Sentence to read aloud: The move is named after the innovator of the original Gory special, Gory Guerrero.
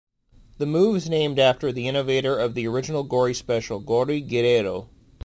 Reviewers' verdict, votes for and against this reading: accepted, 2, 0